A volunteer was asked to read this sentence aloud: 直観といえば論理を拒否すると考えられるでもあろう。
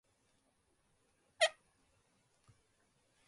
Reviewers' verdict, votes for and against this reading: rejected, 0, 2